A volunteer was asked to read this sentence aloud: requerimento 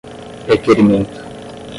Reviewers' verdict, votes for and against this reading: rejected, 0, 5